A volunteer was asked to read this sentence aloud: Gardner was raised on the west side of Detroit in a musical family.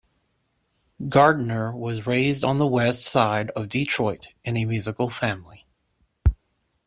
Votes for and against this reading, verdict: 2, 0, accepted